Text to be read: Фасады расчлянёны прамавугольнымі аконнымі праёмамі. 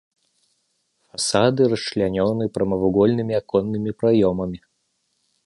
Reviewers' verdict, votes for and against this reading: rejected, 1, 2